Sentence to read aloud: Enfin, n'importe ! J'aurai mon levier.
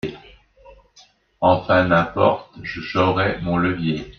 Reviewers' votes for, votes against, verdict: 2, 1, accepted